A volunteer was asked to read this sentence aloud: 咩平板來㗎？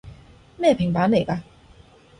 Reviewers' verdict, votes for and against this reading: rejected, 1, 2